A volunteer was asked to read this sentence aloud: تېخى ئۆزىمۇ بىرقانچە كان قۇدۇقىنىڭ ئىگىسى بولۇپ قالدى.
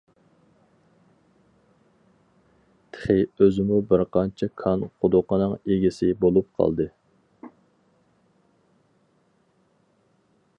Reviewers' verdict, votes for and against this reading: accepted, 4, 0